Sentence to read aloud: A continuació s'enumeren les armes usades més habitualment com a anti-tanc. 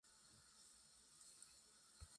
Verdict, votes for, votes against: rejected, 0, 2